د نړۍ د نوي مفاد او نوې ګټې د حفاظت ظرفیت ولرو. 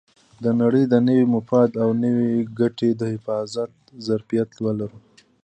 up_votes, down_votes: 2, 1